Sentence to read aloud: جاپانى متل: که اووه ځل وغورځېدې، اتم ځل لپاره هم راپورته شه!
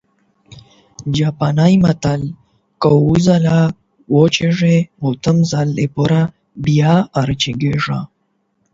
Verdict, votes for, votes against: rejected, 0, 8